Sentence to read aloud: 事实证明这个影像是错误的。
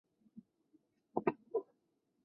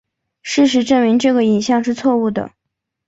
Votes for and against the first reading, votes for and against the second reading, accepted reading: 1, 4, 4, 0, second